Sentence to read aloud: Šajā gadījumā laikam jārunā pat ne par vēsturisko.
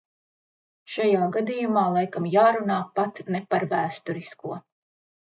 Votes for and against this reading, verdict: 2, 0, accepted